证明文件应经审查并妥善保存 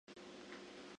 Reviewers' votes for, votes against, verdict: 0, 2, rejected